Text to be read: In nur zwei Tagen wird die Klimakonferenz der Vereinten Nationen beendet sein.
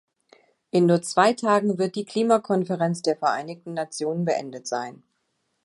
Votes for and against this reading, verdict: 1, 2, rejected